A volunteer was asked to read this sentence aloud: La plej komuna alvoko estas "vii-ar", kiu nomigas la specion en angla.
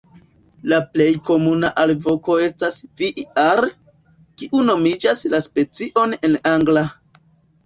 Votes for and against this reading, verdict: 2, 1, accepted